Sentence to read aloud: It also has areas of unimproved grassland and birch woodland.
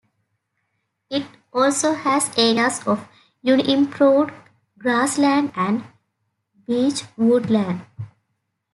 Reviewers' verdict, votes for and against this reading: rejected, 0, 2